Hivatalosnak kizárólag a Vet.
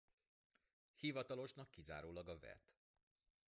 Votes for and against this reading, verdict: 2, 0, accepted